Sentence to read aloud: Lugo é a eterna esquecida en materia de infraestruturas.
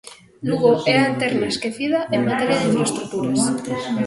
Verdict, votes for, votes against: rejected, 1, 2